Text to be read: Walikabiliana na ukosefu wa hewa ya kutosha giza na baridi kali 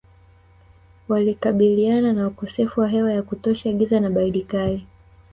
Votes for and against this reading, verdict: 2, 0, accepted